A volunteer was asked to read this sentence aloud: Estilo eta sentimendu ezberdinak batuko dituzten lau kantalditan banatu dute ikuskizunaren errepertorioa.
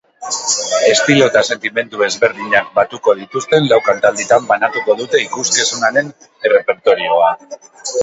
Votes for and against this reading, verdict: 0, 2, rejected